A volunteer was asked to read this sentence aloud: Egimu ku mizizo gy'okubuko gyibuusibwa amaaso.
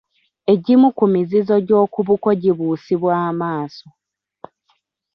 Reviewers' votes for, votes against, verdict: 2, 1, accepted